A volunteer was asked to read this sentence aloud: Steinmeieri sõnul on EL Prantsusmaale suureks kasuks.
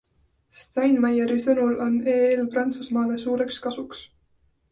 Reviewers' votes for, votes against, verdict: 2, 0, accepted